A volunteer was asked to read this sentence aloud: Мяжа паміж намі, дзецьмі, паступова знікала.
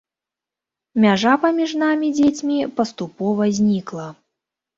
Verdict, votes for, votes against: rejected, 0, 2